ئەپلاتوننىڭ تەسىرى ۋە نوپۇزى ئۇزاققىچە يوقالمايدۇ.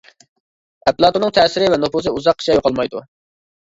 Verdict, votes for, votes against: accepted, 2, 1